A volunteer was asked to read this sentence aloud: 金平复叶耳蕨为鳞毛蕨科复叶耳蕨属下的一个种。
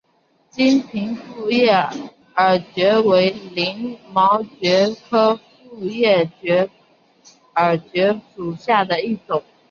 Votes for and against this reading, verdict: 1, 2, rejected